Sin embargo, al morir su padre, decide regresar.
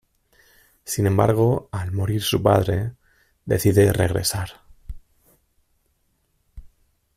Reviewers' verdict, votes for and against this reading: accepted, 2, 1